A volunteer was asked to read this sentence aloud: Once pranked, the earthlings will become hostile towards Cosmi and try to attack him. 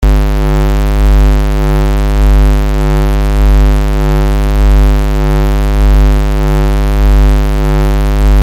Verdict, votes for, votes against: rejected, 0, 2